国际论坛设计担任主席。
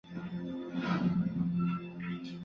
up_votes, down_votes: 1, 3